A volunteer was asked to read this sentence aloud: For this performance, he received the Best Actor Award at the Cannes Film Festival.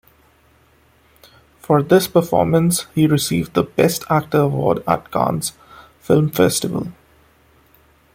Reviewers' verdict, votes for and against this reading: rejected, 0, 2